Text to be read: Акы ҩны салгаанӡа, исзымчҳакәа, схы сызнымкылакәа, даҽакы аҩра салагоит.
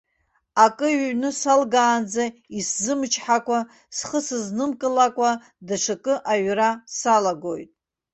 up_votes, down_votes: 0, 2